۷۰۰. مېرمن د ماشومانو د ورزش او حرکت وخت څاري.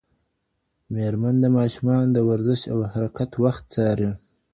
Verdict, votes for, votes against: rejected, 0, 2